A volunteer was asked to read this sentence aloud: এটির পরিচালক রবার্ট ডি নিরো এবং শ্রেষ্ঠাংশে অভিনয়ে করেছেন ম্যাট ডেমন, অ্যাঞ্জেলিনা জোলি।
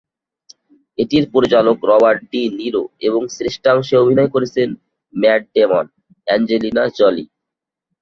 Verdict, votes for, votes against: accepted, 4, 0